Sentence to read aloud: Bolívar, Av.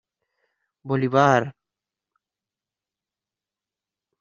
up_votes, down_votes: 1, 2